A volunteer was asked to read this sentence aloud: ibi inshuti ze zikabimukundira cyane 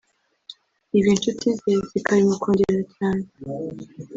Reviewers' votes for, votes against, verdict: 2, 3, rejected